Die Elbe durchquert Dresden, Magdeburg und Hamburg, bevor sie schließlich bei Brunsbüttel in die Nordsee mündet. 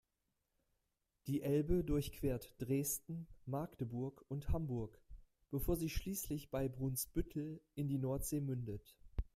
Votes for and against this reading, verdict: 2, 0, accepted